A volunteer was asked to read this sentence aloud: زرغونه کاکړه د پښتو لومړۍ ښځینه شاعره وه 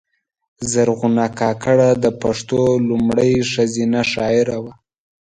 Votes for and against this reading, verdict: 2, 0, accepted